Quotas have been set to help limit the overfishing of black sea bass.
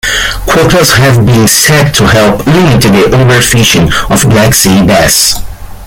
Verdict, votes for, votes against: rejected, 1, 2